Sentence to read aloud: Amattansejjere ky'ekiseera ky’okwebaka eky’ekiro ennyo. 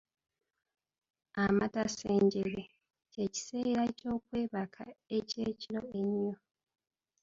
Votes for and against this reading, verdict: 0, 2, rejected